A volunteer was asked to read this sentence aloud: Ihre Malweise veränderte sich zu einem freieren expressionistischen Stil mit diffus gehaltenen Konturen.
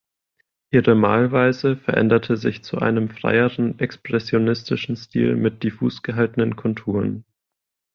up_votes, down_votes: 2, 0